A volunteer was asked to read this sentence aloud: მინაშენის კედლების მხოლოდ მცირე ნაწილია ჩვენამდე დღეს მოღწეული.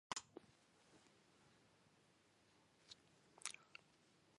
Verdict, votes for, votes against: rejected, 0, 2